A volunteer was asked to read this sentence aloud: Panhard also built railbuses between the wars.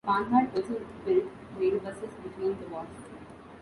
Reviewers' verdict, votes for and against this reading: rejected, 1, 2